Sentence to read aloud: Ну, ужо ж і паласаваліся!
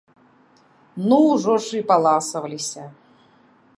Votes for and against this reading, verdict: 1, 2, rejected